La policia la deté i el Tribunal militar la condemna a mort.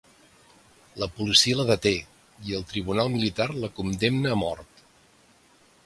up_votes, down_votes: 2, 0